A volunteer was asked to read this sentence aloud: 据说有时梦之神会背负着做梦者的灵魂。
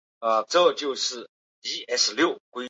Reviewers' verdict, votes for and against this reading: rejected, 0, 3